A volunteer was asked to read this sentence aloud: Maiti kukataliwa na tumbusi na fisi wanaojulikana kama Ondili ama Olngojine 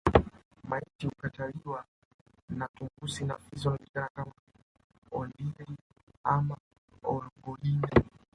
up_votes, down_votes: 0, 2